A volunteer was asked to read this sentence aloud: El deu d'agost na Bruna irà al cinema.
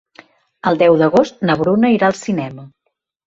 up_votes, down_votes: 3, 0